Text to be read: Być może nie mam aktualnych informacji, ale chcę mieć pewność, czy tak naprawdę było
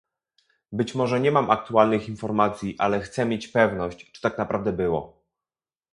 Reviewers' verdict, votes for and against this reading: accepted, 2, 0